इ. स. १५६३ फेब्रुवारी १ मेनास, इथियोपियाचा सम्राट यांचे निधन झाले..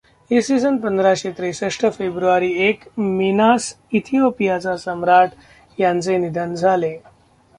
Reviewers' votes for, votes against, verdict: 0, 2, rejected